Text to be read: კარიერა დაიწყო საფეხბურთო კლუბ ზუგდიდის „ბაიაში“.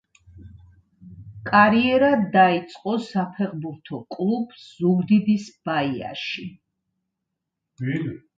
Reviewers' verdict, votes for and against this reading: rejected, 0, 2